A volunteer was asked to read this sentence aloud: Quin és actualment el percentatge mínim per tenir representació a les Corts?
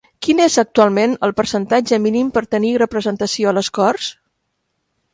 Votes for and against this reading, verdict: 3, 0, accepted